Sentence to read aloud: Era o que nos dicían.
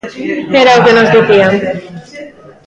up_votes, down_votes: 1, 2